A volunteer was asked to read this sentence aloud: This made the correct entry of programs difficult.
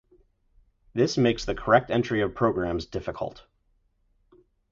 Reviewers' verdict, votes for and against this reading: rejected, 0, 4